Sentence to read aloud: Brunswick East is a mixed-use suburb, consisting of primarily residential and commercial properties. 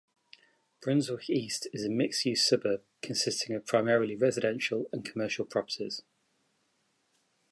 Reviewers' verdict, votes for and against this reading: accepted, 2, 0